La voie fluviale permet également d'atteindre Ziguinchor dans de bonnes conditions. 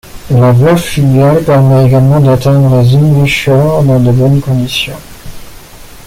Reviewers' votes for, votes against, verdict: 1, 2, rejected